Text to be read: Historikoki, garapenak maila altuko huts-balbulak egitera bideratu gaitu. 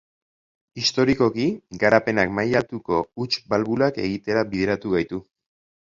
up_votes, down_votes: 6, 0